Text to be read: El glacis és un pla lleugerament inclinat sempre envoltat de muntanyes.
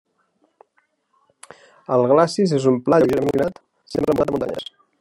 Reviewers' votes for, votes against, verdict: 0, 2, rejected